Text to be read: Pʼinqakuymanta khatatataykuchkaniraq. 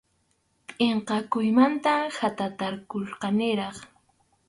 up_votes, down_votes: 0, 4